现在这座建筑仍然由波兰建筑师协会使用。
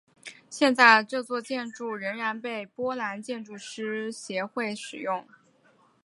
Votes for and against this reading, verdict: 3, 0, accepted